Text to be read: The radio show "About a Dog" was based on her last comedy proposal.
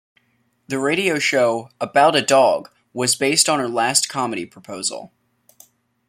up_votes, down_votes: 2, 0